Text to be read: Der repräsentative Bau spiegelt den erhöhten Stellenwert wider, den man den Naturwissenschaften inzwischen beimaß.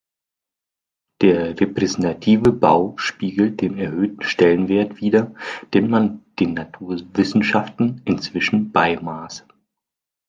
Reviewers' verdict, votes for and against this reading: accepted, 2, 0